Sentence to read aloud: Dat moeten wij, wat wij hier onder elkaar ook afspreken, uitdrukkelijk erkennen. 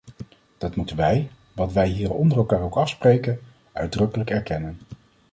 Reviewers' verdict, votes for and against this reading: accepted, 2, 0